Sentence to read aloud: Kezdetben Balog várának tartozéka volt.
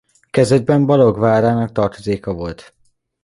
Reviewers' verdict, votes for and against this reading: accepted, 2, 0